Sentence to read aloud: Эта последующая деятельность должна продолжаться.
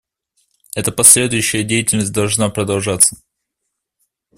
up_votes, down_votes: 2, 0